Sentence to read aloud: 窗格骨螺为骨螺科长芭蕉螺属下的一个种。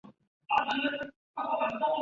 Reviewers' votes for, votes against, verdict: 1, 2, rejected